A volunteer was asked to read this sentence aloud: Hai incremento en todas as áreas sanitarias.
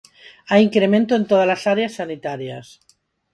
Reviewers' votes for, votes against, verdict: 4, 2, accepted